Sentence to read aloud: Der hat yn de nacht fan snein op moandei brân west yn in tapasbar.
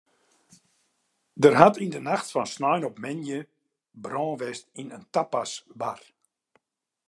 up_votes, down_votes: 2, 1